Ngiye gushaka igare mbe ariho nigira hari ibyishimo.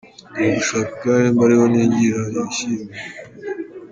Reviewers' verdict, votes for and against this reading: rejected, 0, 2